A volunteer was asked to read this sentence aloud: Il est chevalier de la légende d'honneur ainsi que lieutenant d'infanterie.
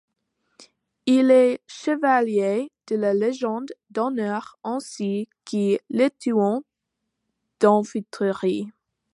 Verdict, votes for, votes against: rejected, 0, 2